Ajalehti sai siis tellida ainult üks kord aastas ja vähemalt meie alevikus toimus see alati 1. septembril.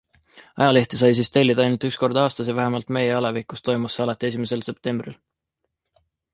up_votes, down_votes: 0, 2